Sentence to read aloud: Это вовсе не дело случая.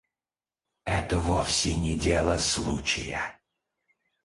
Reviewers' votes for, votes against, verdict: 0, 4, rejected